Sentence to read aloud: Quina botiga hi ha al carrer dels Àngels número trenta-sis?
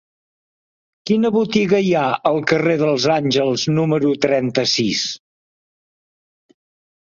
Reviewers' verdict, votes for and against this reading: accepted, 3, 0